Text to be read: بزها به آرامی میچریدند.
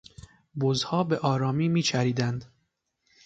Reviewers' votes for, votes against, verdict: 2, 0, accepted